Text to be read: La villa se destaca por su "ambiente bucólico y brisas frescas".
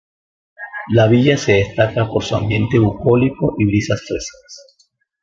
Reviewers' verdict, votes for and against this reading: accepted, 2, 0